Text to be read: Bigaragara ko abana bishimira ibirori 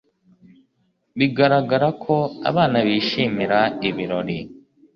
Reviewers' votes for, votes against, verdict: 2, 0, accepted